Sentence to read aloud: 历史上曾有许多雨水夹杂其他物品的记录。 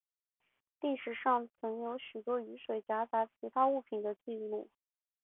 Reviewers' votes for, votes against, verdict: 2, 0, accepted